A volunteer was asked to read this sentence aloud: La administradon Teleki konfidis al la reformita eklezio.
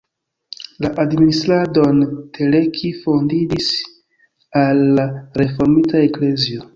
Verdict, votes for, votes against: rejected, 2, 3